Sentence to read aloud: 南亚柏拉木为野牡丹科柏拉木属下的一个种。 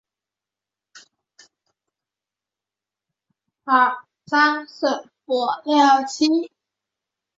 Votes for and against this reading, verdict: 0, 4, rejected